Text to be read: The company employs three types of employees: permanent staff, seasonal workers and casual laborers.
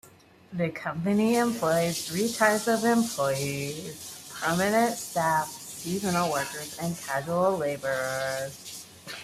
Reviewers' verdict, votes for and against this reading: rejected, 0, 2